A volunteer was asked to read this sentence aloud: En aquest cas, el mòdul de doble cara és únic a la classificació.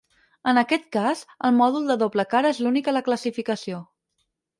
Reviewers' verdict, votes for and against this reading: rejected, 2, 4